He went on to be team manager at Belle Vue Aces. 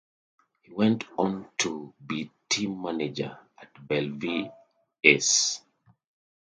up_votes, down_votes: 0, 2